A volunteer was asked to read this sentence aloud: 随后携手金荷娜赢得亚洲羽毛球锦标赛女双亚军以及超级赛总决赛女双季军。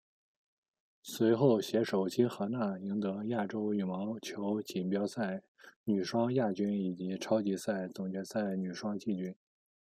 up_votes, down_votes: 0, 2